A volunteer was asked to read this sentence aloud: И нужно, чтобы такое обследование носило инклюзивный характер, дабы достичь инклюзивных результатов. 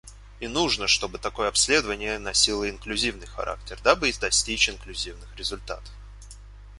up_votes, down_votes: 0, 2